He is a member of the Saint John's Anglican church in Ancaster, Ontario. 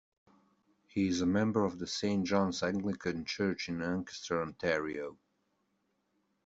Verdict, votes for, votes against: accepted, 2, 0